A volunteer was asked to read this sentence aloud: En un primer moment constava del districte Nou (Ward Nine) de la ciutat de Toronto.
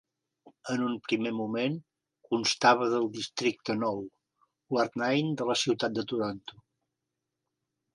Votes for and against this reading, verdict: 1, 2, rejected